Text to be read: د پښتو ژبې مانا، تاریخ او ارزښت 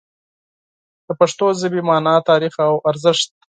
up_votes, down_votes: 4, 0